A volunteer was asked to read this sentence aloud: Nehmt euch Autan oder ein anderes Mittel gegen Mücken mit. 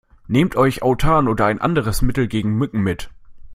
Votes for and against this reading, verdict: 2, 0, accepted